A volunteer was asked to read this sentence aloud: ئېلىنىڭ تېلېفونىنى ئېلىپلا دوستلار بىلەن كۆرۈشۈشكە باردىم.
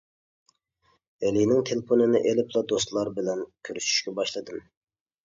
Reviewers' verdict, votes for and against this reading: rejected, 0, 2